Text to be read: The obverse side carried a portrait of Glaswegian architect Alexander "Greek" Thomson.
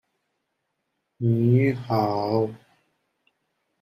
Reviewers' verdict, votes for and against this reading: rejected, 0, 2